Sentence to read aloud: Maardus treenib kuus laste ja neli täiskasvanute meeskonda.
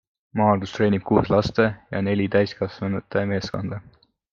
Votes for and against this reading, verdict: 2, 0, accepted